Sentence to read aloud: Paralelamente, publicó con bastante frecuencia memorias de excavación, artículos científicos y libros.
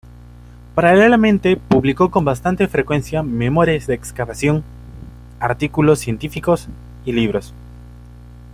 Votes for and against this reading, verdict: 2, 0, accepted